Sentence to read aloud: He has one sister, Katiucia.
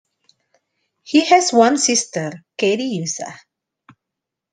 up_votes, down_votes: 2, 0